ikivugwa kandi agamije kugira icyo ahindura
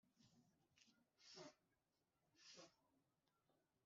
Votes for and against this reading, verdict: 2, 1, accepted